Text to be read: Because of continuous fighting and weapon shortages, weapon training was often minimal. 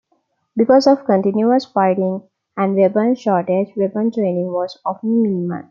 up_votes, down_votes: 0, 2